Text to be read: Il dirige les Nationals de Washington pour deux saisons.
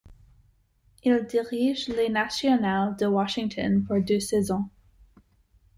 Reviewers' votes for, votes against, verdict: 2, 0, accepted